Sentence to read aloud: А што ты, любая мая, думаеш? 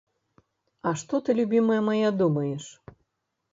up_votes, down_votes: 0, 2